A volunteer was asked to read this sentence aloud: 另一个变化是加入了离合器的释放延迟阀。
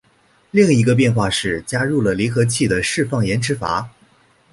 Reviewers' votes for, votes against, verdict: 3, 0, accepted